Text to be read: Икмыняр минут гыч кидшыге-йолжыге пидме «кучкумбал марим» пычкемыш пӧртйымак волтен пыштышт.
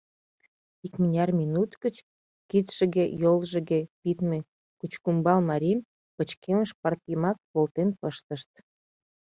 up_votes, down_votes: 1, 2